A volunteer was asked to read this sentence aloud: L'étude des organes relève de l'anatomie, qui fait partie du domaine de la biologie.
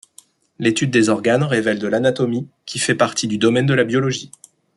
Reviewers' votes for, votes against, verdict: 0, 2, rejected